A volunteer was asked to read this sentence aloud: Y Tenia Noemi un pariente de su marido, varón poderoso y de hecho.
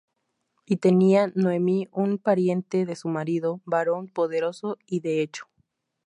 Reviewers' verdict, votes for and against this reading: accepted, 6, 0